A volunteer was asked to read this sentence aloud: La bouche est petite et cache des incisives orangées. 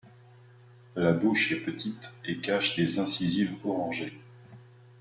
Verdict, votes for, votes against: rejected, 1, 2